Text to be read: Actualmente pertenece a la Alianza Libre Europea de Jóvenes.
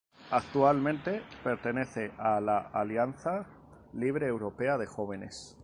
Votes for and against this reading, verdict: 2, 0, accepted